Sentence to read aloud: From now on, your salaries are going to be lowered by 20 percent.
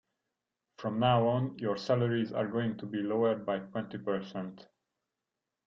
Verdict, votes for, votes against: rejected, 0, 2